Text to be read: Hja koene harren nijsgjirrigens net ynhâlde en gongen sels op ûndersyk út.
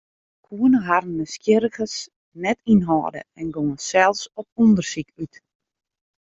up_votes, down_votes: 1, 2